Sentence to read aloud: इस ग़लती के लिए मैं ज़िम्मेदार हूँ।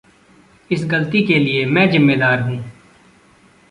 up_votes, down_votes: 1, 2